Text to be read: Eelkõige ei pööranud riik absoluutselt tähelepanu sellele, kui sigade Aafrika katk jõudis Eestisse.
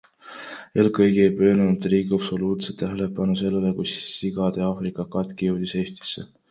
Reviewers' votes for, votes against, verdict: 2, 0, accepted